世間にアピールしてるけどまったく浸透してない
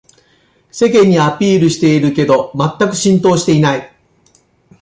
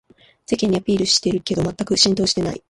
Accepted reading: second